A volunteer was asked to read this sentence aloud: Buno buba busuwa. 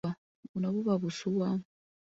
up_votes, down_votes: 2, 0